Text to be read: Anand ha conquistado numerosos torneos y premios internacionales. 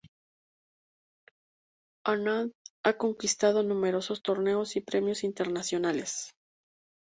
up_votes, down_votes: 2, 2